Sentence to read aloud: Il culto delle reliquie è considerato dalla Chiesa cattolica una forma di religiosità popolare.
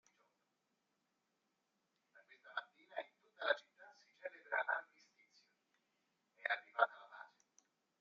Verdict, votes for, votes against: rejected, 0, 2